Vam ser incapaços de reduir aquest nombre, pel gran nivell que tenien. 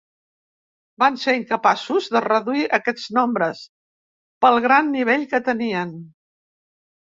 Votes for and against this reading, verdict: 1, 2, rejected